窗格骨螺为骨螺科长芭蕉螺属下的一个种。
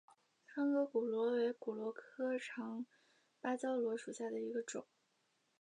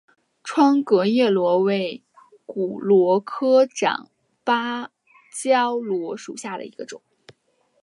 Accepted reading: second